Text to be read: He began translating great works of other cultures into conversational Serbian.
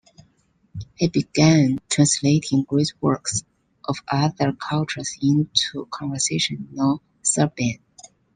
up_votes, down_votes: 1, 2